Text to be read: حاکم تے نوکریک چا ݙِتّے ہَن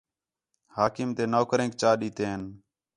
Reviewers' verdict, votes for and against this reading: accepted, 4, 0